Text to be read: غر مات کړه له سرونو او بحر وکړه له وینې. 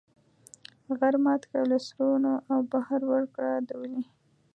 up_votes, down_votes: 2, 1